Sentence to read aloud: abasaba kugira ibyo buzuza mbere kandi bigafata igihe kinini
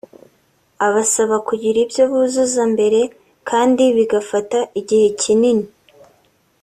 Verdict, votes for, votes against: accepted, 2, 0